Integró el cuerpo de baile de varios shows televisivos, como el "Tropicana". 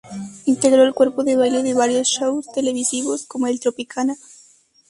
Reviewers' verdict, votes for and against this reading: accepted, 2, 0